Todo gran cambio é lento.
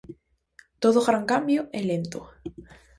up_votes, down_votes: 4, 0